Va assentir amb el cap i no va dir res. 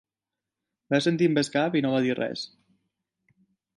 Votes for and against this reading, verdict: 2, 0, accepted